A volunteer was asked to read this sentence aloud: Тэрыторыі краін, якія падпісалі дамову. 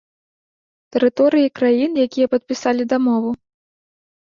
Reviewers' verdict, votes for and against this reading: accepted, 2, 0